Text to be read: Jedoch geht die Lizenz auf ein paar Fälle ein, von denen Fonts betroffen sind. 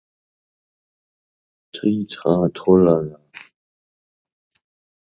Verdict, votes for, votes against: rejected, 0, 2